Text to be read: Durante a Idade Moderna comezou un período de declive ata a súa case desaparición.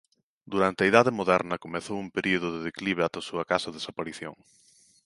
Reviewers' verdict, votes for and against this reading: accepted, 2, 0